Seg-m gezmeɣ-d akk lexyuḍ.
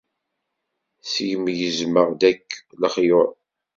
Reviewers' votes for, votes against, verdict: 2, 0, accepted